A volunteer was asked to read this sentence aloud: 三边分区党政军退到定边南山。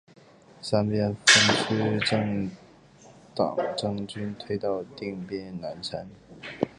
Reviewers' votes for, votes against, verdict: 1, 2, rejected